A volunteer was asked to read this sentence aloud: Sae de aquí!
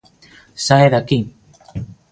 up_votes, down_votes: 2, 0